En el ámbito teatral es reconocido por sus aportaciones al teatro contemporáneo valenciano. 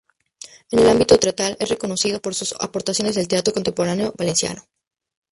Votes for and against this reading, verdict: 0, 2, rejected